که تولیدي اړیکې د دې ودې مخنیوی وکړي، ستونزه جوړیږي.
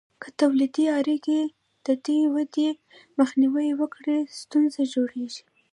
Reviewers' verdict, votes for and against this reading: rejected, 0, 2